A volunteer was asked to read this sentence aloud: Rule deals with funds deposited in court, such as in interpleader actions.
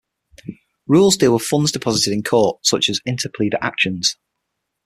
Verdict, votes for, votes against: rejected, 3, 9